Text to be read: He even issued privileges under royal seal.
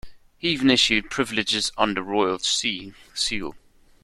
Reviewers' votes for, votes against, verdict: 0, 2, rejected